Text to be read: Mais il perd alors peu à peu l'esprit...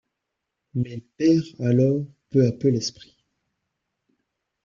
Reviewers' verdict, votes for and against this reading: rejected, 1, 2